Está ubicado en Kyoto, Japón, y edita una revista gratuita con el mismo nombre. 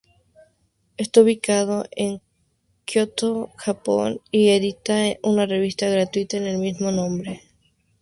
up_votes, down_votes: 0, 4